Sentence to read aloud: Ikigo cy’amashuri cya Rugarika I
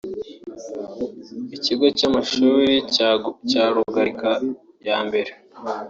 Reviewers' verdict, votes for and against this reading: rejected, 2, 3